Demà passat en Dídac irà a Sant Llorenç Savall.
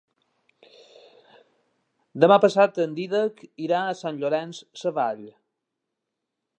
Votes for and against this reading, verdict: 4, 0, accepted